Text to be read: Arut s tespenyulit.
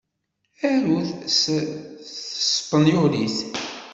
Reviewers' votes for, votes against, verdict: 0, 2, rejected